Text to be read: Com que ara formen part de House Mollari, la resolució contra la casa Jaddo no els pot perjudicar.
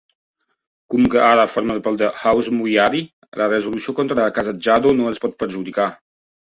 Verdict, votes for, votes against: rejected, 0, 2